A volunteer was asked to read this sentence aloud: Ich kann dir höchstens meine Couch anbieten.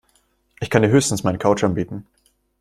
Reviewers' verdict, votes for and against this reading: accepted, 2, 0